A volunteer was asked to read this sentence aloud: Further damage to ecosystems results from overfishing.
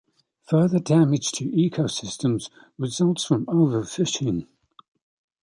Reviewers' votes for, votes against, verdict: 2, 0, accepted